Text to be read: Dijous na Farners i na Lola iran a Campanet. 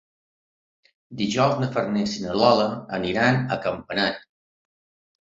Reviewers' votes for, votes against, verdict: 2, 0, accepted